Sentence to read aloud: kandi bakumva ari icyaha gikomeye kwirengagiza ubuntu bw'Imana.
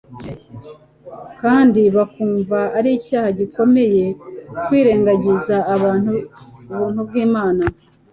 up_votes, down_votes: 0, 2